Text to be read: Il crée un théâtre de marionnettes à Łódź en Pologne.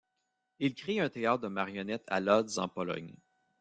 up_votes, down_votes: 0, 2